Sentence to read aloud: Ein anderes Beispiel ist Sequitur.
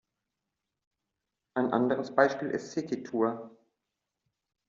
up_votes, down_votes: 2, 1